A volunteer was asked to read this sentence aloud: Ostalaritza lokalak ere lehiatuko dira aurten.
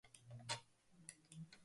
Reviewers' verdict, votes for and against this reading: rejected, 0, 2